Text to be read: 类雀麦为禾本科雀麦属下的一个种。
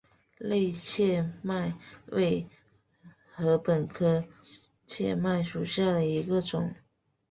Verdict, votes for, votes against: accepted, 6, 1